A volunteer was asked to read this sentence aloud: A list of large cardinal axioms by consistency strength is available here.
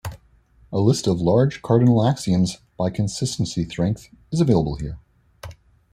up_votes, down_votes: 2, 1